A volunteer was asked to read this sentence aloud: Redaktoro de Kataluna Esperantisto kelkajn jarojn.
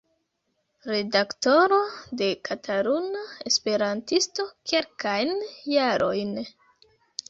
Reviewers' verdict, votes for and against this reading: accepted, 2, 1